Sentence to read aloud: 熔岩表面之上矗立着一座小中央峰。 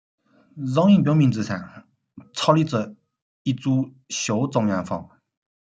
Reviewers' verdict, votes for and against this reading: rejected, 0, 2